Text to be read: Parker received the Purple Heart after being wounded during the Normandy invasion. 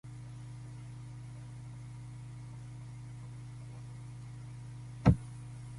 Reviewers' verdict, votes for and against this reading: rejected, 0, 6